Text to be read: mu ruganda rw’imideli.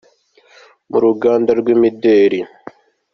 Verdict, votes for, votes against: accepted, 2, 0